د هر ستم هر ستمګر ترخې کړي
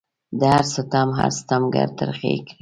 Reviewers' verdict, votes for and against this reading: rejected, 1, 2